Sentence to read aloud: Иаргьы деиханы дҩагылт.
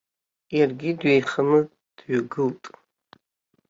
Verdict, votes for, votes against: rejected, 1, 2